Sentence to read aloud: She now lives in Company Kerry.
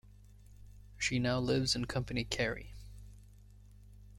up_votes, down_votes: 2, 1